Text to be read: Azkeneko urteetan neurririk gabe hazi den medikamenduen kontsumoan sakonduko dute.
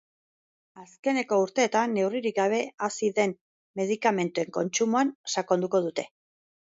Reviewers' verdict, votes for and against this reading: accepted, 2, 0